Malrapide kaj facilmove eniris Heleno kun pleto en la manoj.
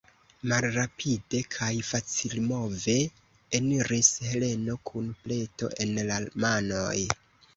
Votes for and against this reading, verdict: 1, 2, rejected